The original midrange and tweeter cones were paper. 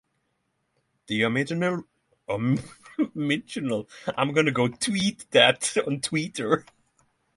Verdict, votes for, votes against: rejected, 0, 3